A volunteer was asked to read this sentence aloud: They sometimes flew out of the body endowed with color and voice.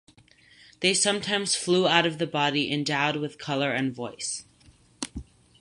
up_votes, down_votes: 4, 0